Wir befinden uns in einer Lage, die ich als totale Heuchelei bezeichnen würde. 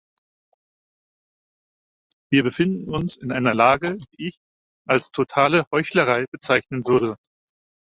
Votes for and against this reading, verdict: 0, 4, rejected